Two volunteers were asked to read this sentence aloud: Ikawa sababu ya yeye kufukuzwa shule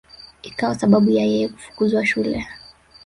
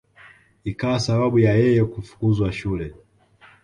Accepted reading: second